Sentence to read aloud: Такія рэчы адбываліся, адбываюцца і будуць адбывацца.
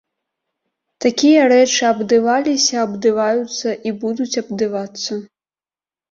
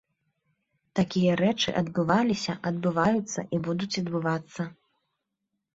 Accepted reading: second